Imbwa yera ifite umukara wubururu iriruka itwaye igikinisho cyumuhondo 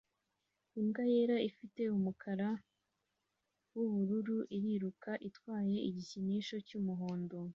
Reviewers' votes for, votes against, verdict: 2, 0, accepted